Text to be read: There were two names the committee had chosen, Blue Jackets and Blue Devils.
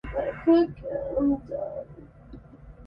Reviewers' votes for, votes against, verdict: 0, 2, rejected